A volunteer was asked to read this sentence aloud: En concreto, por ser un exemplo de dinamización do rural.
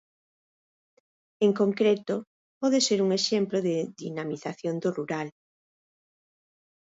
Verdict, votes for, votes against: rejected, 0, 4